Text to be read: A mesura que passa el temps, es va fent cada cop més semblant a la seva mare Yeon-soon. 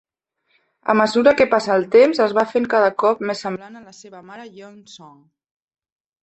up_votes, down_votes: 1, 2